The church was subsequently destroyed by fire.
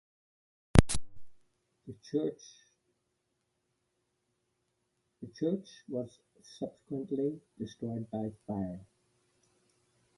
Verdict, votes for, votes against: rejected, 1, 2